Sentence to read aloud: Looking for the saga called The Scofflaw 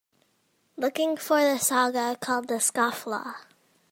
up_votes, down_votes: 2, 0